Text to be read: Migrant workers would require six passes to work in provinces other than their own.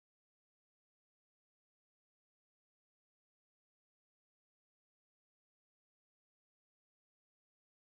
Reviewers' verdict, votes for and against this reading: rejected, 0, 2